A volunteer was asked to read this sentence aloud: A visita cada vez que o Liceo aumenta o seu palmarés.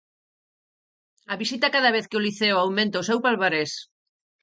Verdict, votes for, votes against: accepted, 4, 0